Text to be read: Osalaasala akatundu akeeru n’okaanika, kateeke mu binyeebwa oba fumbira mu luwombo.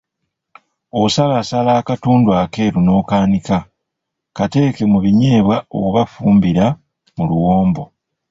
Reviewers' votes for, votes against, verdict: 2, 1, accepted